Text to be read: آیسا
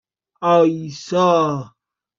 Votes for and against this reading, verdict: 2, 1, accepted